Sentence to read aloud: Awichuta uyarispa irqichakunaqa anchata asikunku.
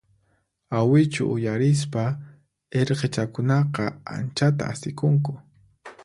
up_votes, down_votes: 2, 4